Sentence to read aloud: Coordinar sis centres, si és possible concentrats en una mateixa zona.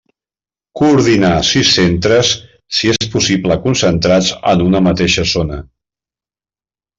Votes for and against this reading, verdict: 2, 0, accepted